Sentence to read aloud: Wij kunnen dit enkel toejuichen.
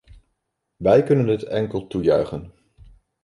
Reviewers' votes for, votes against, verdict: 2, 0, accepted